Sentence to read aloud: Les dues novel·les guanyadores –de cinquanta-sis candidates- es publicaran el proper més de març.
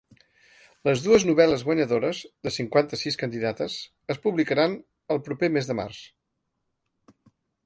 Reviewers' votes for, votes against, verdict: 4, 0, accepted